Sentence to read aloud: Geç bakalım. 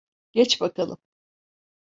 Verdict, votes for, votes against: accepted, 2, 0